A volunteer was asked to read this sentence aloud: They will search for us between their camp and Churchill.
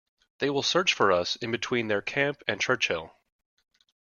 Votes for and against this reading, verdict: 1, 2, rejected